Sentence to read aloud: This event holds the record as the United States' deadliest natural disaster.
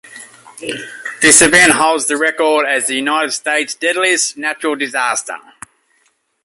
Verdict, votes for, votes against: rejected, 1, 2